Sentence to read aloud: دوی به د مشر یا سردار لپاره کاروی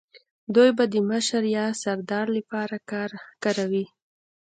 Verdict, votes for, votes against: rejected, 1, 2